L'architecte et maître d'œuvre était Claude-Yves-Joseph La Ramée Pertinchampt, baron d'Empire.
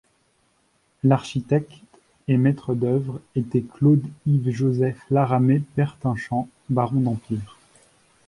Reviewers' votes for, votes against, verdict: 0, 2, rejected